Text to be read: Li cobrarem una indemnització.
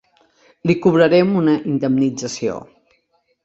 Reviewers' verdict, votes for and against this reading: accepted, 2, 0